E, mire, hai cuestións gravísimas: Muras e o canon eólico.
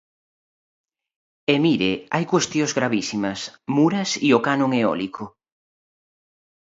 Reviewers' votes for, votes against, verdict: 2, 0, accepted